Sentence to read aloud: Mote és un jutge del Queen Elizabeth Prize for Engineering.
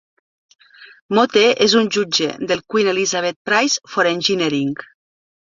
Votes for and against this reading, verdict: 3, 0, accepted